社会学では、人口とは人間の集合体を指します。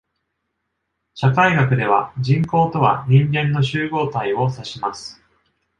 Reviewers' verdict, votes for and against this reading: accepted, 2, 0